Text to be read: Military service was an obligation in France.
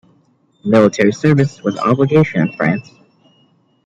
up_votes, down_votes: 2, 0